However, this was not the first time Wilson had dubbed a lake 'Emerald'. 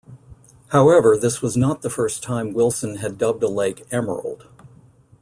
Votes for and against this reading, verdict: 2, 0, accepted